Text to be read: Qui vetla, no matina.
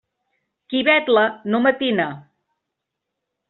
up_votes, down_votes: 2, 0